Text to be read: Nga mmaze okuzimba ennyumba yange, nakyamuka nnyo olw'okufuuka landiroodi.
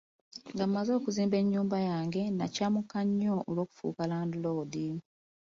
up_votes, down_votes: 2, 1